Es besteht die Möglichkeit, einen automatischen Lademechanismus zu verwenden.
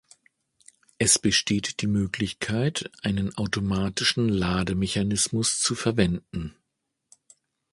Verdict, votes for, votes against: accepted, 3, 0